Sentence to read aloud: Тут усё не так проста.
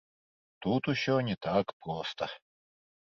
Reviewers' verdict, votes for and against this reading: accepted, 2, 0